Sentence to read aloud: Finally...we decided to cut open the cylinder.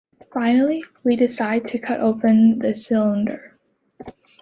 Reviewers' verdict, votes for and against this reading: accepted, 2, 0